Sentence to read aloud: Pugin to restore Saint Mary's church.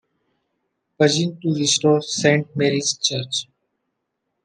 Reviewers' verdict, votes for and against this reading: accepted, 2, 0